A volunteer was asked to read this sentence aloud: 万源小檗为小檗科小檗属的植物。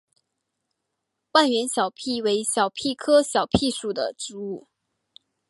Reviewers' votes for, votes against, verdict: 5, 2, accepted